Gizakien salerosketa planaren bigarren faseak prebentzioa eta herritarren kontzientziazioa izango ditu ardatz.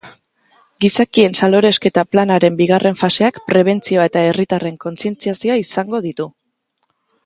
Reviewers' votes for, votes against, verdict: 1, 2, rejected